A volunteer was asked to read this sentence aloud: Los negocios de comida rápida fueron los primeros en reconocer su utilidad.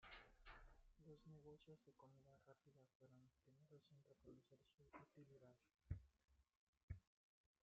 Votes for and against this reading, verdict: 0, 2, rejected